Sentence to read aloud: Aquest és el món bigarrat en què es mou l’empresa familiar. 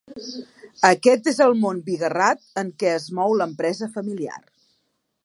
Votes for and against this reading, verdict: 2, 0, accepted